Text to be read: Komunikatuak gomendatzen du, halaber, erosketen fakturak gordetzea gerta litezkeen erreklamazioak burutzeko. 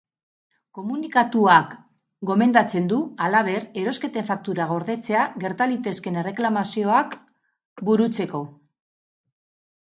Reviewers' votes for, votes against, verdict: 2, 2, rejected